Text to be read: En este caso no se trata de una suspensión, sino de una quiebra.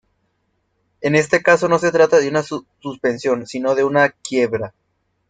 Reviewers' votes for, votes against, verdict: 3, 2, accepted